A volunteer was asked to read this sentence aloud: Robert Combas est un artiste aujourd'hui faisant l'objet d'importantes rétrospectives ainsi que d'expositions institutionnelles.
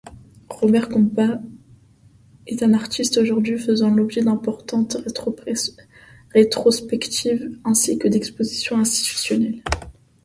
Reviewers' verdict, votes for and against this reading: rejected, 0, 2